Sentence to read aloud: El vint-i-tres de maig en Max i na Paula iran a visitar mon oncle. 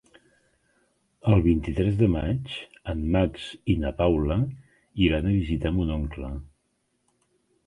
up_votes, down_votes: 3, 0